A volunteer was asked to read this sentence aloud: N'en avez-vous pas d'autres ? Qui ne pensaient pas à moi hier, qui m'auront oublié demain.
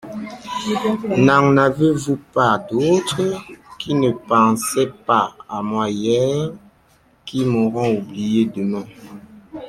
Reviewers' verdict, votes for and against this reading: accepted, 2, 0